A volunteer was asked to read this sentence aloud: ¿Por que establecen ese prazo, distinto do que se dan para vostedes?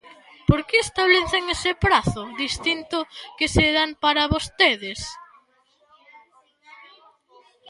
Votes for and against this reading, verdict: 1, 2, rejected